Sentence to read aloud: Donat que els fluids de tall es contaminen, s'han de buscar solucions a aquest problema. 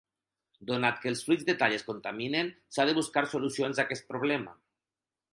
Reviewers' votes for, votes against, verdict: 4, 0, accepted